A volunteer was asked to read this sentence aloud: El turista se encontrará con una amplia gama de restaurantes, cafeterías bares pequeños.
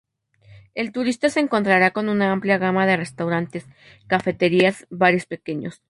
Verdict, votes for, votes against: accepted, 2, 0